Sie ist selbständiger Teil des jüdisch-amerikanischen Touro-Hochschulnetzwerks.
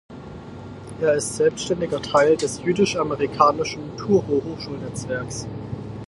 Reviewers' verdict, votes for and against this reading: rejected, 0, 4